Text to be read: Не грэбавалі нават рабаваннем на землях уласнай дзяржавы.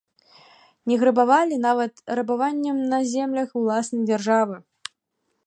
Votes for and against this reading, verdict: 1, 2, rejected